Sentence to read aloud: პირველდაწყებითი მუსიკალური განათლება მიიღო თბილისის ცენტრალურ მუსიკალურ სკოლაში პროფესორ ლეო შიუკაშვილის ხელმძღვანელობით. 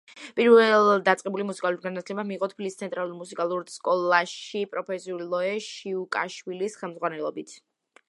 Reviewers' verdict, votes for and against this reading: rejected, 1, 2